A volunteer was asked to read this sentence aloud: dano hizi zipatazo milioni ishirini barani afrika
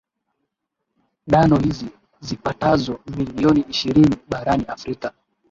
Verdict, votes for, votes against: rejected, 0, 2